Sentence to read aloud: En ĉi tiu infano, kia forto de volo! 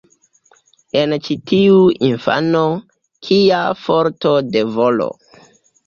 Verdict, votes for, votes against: accepted, 2, 0